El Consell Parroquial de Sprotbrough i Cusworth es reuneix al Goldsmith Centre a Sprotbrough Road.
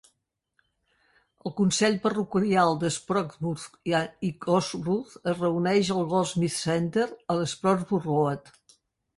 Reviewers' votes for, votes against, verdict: 0, 4, rejected